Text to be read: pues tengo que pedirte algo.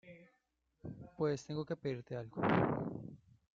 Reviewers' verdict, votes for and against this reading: rejected, 1, 2